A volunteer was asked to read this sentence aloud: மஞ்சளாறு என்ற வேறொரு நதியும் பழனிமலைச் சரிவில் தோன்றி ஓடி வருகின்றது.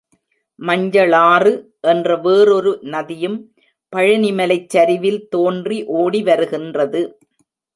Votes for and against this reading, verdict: 2, 0, accepted